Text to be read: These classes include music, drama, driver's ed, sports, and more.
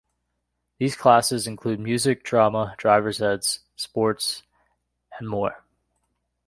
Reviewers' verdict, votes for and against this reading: rejected, 0, 2